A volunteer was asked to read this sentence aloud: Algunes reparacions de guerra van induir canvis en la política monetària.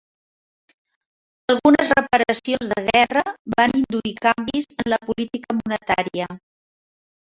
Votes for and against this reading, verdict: 3, 1, accepted